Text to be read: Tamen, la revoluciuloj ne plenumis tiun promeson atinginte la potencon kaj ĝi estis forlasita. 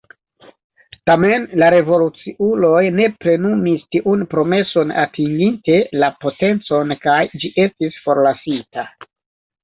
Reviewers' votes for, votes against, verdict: 2, 1, accepted